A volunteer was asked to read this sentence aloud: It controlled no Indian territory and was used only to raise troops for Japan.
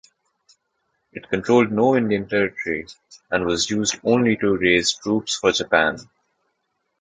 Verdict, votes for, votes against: rejected, 1, 2